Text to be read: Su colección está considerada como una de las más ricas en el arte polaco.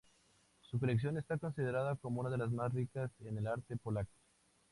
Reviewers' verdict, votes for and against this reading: accepted, 2, 0